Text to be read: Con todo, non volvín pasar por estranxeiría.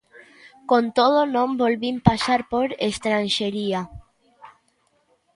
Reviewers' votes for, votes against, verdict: 0, 2, rejected